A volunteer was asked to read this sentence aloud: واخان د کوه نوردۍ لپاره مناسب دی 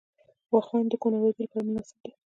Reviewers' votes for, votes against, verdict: 2, 0, accepted